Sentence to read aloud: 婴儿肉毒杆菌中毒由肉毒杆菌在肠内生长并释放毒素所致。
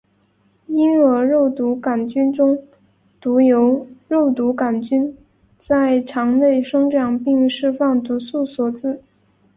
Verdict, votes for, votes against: accepted, 3, 0